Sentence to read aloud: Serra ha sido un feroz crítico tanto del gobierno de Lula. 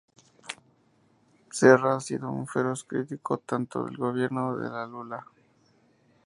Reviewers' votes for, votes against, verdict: 4, 0, accepted